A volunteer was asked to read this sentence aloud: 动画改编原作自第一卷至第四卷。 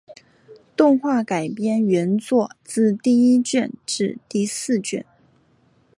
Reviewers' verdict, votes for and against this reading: accepted, 2, 0